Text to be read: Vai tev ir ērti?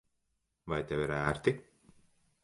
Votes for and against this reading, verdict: 2, 0, accepted